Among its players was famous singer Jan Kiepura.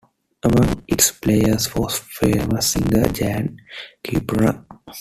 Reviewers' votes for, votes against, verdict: 0, 2, rejected